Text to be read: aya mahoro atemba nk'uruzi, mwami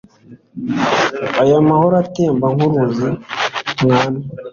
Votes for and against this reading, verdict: 2, 0, accepted